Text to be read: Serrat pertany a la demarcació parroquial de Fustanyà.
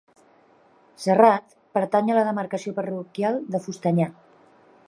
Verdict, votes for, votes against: rejected, 1, 2